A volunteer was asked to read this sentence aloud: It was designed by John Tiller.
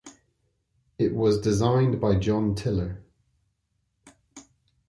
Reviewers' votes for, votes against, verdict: 2, 0, accepted